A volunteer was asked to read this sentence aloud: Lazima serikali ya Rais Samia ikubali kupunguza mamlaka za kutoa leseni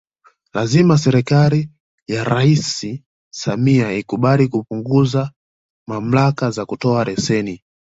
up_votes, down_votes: 1, 2